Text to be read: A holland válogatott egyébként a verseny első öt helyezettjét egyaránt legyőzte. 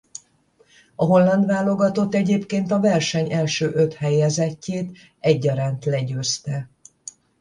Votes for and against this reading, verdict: 10, 5, accepted